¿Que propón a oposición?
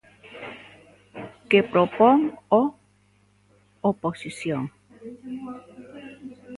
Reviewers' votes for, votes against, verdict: 0, 2, rejected